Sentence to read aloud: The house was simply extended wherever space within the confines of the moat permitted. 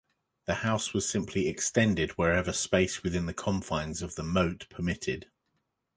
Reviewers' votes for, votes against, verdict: 2, 0, accepted